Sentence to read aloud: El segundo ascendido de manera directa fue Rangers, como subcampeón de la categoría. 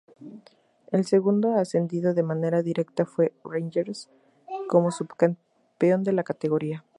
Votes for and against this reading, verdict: 4, 0, accepted